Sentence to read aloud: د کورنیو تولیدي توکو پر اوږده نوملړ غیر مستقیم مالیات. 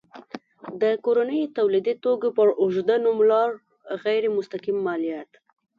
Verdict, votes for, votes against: accepted, 2, 0